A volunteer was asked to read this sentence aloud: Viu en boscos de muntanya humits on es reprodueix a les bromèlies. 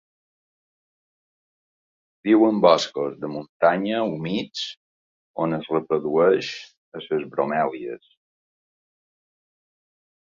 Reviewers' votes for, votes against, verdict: 1, 2, rejected